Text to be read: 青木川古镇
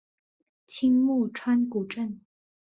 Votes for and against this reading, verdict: 6, 0, accepted